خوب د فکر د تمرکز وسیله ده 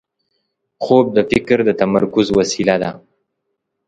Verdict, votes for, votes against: accepted, 2, 0